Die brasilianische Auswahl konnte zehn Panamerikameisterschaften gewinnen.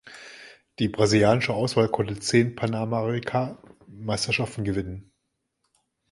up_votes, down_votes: 1, 2